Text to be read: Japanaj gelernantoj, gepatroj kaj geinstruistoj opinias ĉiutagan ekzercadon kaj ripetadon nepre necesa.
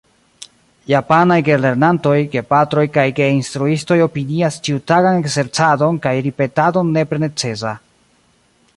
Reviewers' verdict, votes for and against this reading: rejected, 0, 2